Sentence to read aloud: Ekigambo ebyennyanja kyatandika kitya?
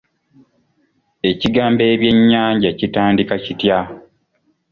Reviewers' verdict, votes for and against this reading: rejected, 1, 2